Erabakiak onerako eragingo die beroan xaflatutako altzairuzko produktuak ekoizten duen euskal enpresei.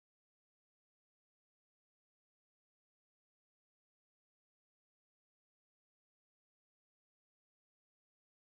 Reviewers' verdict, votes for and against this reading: rejected, 0, 2